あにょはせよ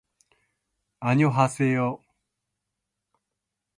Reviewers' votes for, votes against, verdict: 1, 2, rejected